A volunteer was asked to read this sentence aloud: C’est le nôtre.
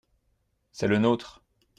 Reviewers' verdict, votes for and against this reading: accepted, 2, 0